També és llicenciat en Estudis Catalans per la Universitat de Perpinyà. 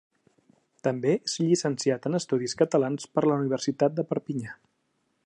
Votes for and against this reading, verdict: 2, 0, accepted